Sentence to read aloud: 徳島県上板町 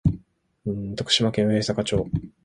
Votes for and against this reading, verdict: 2, 0, accepted